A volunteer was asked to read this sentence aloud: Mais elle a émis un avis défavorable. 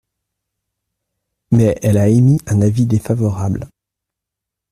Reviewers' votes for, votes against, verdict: 2, 0, accepted